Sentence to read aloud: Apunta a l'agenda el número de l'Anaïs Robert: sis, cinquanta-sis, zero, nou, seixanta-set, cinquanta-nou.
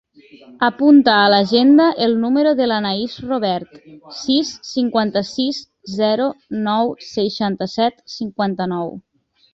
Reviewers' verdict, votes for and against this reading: accepted, 3, 0